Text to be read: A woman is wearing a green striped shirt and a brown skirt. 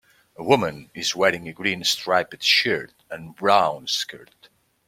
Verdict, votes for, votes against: accepted, 2, 1